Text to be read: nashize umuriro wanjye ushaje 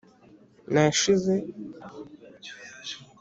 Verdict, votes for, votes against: rejected, 1, 2